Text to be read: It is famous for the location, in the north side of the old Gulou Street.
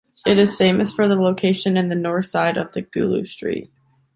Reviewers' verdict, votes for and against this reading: rejected, 0, 3